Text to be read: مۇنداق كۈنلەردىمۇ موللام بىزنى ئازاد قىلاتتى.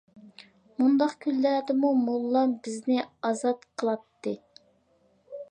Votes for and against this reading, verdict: 2, 0, accepted